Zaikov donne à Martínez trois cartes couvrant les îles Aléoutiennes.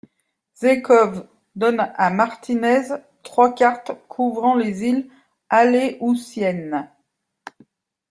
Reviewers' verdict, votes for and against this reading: accepted, 2, 0